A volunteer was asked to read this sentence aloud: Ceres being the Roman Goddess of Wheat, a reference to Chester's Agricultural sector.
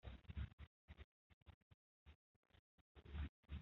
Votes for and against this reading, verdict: 0, 2, rejected